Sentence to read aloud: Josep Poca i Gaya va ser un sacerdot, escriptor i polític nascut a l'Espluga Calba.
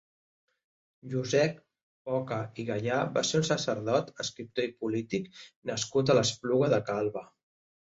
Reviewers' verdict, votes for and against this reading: rejected, 1, 2